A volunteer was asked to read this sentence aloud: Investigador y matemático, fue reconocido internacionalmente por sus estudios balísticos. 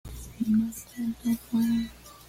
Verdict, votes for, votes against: rejected, 1, 2